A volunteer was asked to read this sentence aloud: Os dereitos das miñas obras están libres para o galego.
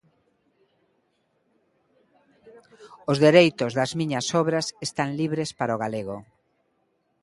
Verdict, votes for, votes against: accepted, 2, 0